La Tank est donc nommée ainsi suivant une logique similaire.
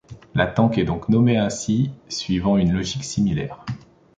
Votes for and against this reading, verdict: 2, 0, accepted